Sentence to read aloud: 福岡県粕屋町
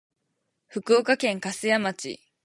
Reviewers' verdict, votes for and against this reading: accepted, 4, 0